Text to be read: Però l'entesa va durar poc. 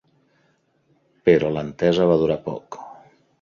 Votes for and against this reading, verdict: 4, 0, accepted